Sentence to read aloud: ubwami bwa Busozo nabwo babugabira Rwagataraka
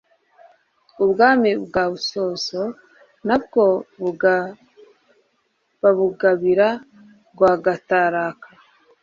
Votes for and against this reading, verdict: 1, 2, rejected